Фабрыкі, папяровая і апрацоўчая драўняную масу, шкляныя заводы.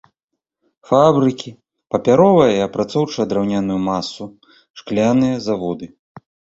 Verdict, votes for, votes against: rejected, 0, 2